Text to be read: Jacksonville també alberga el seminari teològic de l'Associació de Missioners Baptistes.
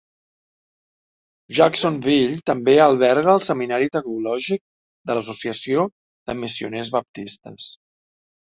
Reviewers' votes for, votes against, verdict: 2, 0, accepted